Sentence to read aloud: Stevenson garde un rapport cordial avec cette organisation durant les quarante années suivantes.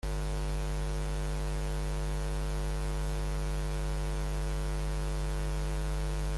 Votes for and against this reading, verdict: 0, 2, rejected